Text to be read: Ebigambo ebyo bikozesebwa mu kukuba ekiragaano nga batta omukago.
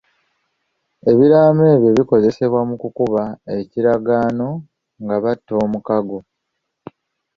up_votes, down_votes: 1, 2